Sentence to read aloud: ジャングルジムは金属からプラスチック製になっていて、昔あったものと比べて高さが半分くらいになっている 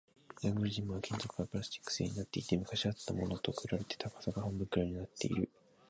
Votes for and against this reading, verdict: 1, 2, rejected